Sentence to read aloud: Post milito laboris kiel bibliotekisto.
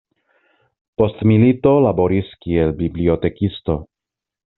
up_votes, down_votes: 2, 0